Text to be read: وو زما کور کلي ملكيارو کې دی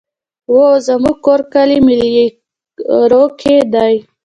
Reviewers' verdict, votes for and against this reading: rejected, 1, 2